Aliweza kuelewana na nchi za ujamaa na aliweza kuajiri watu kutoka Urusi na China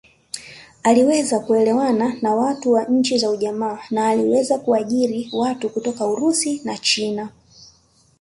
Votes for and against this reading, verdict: 2, 1, accepted